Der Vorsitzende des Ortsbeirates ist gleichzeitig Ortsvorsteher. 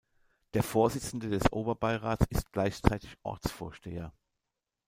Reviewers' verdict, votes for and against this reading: rejected, 1, 2